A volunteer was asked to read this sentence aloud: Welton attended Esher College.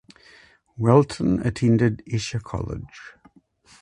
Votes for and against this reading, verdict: 2, 2, rejected